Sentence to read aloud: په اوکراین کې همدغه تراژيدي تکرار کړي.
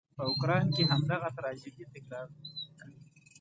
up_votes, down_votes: 0, 2